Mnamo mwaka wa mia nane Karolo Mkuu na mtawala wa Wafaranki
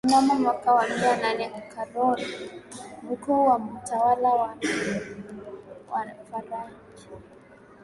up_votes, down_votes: 1, 2